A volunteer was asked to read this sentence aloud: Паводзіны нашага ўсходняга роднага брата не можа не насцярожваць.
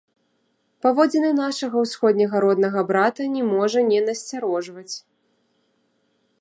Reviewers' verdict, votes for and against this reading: accepted, 2, 1